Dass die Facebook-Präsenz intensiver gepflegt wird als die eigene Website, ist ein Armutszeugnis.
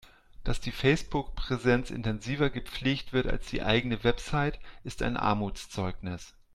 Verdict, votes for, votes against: accepted, 2, 0